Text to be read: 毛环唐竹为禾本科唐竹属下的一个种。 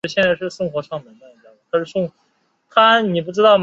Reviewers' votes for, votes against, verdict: 0, 2, rejected